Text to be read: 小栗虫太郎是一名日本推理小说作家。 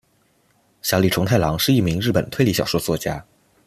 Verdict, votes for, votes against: accepted, 2, 0